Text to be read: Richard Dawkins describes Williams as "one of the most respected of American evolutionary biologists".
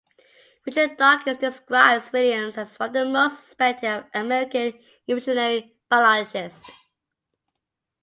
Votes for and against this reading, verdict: 2, 0, accepted